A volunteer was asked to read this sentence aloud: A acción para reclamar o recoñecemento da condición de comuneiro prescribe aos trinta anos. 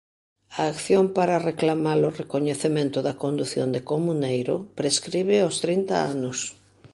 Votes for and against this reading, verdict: 1, 2, rejected